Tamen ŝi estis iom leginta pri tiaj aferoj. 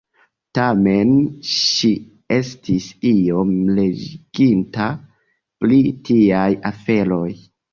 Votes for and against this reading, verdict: 1, 2, rejected